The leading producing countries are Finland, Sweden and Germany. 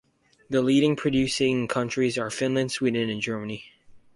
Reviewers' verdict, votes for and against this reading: rejected, 0, 2